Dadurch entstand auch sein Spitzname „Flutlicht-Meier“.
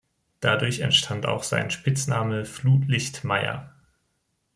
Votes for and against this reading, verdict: 2, 0, accepted